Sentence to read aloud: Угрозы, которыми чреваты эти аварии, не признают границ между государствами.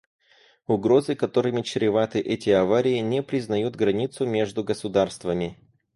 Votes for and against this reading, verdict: 0, 2, rejected